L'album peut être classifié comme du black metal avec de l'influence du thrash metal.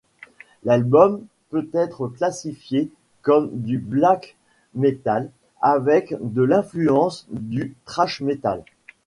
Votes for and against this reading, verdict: 2, 0, accepted